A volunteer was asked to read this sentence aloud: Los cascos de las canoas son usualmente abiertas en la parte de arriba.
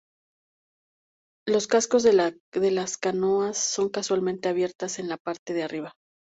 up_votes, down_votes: 0, 2